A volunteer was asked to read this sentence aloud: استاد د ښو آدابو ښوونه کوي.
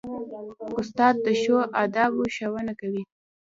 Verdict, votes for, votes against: rejected, 0, 2